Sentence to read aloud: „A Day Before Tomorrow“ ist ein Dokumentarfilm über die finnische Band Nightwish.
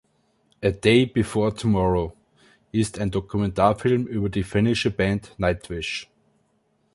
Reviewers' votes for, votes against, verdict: 2, 0, accepted